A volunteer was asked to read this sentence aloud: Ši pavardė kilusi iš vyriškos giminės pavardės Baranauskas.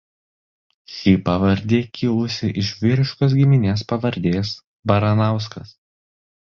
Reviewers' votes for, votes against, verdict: 1, 2, rejected